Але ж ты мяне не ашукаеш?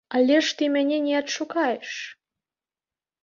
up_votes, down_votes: 0, 2